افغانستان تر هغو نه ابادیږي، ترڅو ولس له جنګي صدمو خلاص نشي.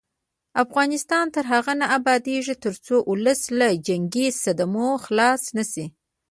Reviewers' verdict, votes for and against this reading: rejected, 0, 2